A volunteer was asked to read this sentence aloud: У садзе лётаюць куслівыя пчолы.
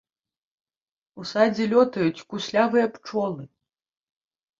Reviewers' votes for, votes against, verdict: 1, 2, rejected